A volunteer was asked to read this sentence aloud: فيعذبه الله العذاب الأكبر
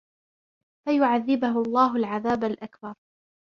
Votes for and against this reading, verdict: 2, 0, accepted